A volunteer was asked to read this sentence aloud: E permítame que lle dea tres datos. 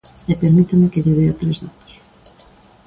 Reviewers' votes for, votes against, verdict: 2, 1, accepted